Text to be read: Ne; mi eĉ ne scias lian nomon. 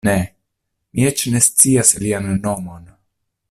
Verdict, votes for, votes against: accepted, 2, 0